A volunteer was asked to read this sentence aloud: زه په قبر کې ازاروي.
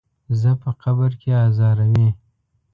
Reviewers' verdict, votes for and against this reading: accepted, 2, 0